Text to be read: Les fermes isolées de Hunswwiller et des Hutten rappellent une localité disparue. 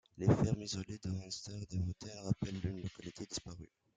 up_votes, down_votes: 1, 2